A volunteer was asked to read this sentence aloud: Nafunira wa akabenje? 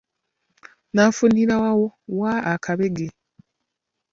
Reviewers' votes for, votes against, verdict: 0, 2, rejected